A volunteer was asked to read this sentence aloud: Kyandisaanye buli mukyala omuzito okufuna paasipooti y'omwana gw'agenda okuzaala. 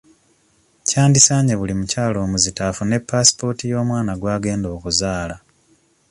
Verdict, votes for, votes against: rejected, 0, 2